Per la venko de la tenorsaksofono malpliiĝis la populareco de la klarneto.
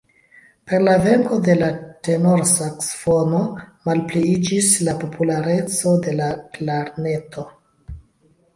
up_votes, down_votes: 0, 2